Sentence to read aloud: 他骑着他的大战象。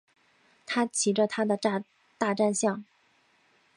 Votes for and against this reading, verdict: 0, 2, rejected